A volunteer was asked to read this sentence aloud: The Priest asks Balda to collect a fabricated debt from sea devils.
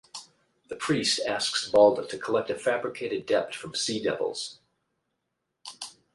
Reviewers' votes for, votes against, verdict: 8, 0, accepted